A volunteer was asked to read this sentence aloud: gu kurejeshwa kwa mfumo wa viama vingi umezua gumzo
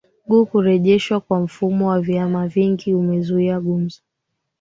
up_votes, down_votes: 1, 2